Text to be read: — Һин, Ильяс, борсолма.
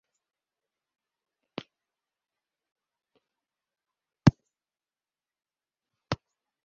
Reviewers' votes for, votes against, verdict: 0, 2, rejected